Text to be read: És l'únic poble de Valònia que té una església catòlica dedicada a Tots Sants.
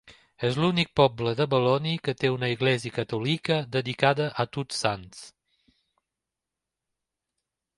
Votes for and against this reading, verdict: 1, 2, rejected